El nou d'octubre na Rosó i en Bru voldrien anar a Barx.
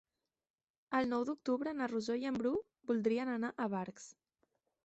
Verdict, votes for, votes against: accepted, 2, 0